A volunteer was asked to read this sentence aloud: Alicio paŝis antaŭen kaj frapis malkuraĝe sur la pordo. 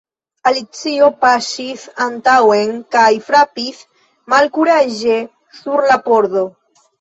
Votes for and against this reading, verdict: 2, 0, accepted